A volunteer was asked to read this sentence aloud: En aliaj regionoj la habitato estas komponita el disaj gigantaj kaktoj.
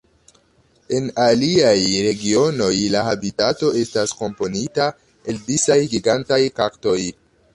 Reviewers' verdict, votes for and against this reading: rejected, 2, 3